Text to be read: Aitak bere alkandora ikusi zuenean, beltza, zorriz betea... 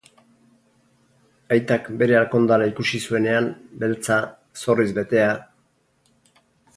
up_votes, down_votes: 2, 0